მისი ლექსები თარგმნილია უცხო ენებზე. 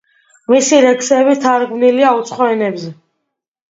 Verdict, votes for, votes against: accepted, 2, 0